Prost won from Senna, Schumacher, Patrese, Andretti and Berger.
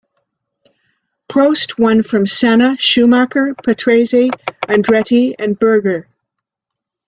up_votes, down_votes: 2, 1